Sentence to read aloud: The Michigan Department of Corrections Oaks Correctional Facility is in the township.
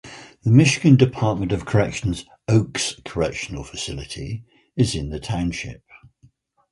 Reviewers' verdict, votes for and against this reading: accepted, 2, 0